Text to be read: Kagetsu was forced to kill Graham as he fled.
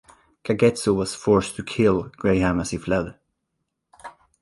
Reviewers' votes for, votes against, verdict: 0, 2, rejected